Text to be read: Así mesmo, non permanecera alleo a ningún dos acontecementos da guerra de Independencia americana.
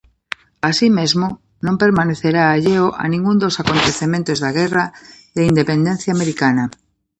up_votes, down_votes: 0, 2